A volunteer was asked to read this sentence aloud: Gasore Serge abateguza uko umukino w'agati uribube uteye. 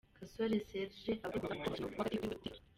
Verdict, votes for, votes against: rejected, 0, 2